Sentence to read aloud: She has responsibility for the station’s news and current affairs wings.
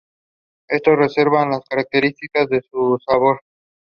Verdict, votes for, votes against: rejected, 0, 2